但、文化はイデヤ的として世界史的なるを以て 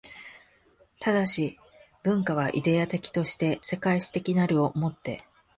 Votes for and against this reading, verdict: 3, 0, accepted